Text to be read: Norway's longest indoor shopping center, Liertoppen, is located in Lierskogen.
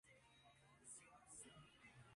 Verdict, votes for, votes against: rejected, 0, 2